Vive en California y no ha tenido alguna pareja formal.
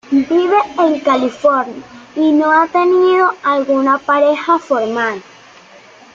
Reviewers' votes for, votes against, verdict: 2, 0, accepted